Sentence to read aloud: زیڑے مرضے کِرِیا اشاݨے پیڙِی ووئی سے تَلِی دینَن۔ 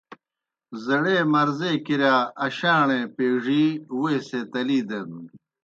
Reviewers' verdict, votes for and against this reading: rejected, 0, 2